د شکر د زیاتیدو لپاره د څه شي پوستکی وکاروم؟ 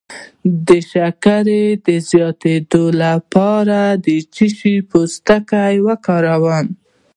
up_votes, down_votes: 1, 2